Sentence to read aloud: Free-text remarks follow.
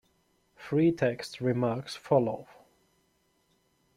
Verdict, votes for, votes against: rejected, 1, 2